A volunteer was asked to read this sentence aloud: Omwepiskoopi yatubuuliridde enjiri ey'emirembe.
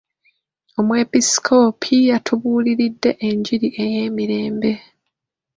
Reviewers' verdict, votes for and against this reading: rejected, 1, 2